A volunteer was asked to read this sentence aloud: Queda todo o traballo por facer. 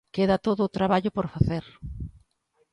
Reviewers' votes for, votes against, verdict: 2, 0, accepted